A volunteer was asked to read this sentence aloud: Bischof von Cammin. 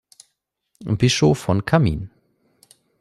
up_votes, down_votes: 2, 0